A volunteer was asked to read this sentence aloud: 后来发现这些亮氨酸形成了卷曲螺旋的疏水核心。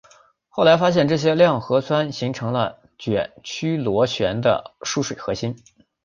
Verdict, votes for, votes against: rejected, 0, 3